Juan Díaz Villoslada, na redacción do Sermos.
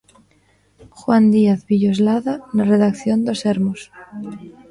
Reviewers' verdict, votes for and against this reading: rejected, 1, 2